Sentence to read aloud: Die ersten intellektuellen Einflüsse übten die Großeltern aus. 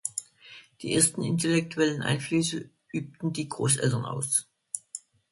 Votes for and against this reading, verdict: 2, 0, accepted